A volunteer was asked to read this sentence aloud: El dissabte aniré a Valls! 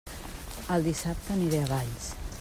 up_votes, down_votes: 2, 0